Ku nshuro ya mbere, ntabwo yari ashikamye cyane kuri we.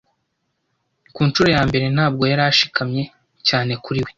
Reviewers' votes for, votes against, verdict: 2, 0, accepted